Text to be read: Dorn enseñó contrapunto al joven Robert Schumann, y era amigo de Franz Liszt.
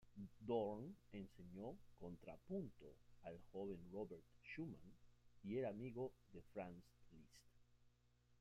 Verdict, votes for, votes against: rejected, 1, 2